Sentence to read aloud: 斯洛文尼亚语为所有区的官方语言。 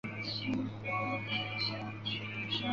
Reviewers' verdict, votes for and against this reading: rejected, 0, 2